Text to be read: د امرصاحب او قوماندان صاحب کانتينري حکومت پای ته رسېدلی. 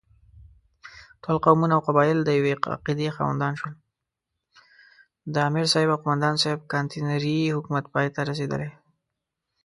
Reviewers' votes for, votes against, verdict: 0, 2, rejected